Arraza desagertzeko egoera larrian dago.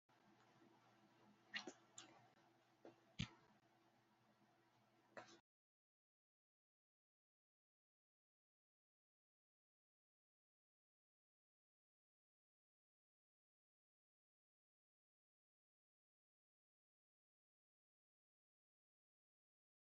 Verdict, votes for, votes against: rejected, 0, 3